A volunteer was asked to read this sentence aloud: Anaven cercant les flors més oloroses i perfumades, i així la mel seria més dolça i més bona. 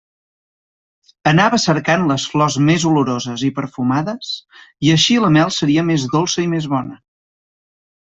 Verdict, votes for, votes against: rejected, 0, 2